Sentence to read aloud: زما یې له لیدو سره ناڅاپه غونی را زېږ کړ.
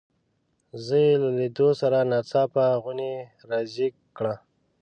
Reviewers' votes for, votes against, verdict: 1, 2, rejected